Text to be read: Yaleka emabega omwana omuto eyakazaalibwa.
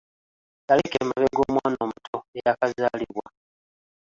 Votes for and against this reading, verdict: 2, 0, accepted